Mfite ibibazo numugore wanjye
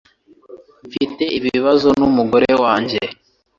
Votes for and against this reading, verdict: 2, 0, accepted